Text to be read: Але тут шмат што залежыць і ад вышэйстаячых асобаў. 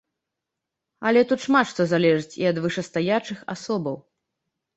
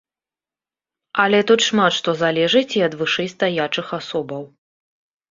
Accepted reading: second